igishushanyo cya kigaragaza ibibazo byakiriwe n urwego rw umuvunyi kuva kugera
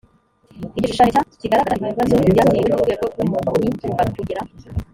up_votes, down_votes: 1, 2